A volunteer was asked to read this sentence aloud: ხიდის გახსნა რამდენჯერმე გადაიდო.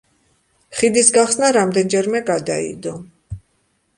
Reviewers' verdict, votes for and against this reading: accepted, 2, 0